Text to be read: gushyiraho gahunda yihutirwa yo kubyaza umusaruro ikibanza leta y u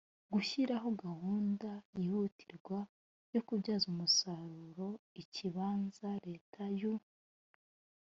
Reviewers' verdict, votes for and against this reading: accepted, 2, 0